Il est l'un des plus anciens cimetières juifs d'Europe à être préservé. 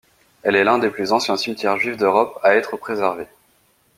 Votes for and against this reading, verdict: 1, 2, rejected